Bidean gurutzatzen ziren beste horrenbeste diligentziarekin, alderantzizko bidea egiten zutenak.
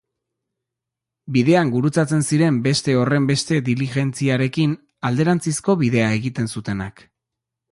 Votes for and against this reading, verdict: 2, 0, accepted